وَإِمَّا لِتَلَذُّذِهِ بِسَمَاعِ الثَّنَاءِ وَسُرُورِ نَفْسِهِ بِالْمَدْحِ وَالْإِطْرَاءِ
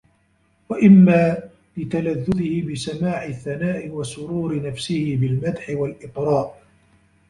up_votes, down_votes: 1, 2